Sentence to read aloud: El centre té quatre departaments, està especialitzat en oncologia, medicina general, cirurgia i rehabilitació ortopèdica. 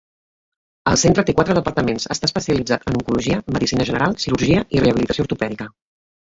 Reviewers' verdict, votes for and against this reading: rejected, 0, 5